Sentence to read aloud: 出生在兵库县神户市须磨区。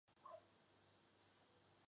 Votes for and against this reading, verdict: 0, 4, rejected